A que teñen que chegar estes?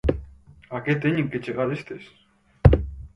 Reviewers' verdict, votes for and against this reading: accepted, 4, 0